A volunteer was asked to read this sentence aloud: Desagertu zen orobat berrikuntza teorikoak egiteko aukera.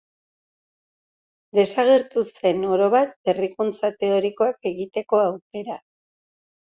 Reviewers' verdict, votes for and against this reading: accepted, 2, 0